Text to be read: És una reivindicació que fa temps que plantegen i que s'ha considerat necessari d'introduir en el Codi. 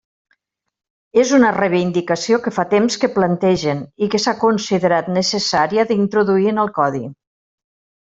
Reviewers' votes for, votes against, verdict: 0, 2, rejected